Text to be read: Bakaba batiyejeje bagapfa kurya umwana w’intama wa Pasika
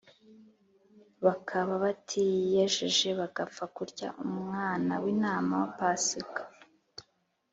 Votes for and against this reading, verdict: 2, 0, accepted